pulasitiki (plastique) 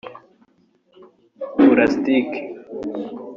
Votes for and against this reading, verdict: 0, 2, rejected